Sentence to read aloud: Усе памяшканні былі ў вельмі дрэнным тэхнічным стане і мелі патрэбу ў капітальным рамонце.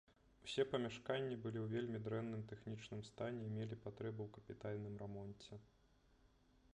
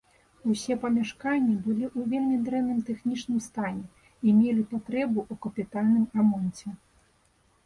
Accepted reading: second